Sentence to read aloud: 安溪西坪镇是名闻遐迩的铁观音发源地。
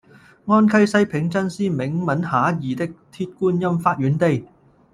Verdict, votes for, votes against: rejected, 0, 2